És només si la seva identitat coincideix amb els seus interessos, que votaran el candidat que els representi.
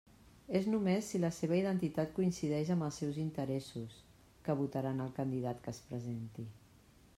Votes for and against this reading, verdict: 0, 2, rejected